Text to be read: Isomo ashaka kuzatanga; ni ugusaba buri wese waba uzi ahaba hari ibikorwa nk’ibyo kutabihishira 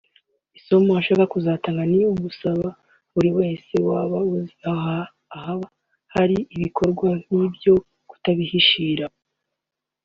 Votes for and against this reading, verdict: 2, 1, accepted